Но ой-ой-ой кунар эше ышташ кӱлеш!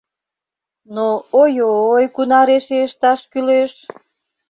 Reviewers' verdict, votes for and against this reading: rejected, 1, 2